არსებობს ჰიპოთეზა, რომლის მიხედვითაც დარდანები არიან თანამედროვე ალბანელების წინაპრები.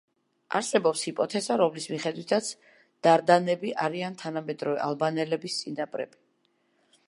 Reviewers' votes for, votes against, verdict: 2, 0, accepted